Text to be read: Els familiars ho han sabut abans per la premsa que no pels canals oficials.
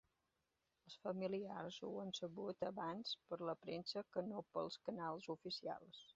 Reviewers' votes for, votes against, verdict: 2, 1, accepted